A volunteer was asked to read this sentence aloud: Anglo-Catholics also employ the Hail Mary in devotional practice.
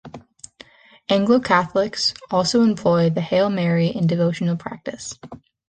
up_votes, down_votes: 2, 0